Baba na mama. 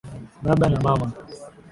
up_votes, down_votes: 11, 2